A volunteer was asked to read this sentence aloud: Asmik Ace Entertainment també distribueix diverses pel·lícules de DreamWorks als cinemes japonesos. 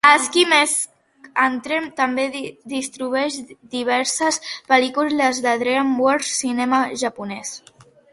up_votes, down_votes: 1, 2